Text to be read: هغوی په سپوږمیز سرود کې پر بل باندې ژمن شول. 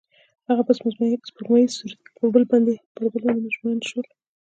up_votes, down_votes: 1, 2